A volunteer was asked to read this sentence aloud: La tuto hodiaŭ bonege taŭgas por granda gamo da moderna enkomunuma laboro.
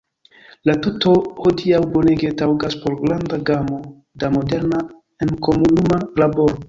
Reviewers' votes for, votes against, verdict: 1, 2, rejected